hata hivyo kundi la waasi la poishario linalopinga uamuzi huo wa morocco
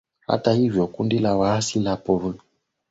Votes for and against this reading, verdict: 1, 4, rejected